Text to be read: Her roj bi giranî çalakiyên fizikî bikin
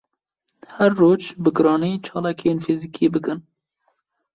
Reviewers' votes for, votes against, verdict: 2, 0, accepted